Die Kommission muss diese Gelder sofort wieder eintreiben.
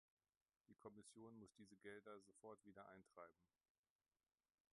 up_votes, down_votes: 1, 2